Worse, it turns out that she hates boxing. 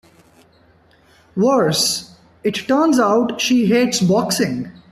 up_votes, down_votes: 1, 2